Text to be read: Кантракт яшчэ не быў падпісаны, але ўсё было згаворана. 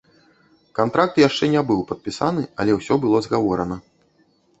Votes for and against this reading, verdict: 2, 0, accepted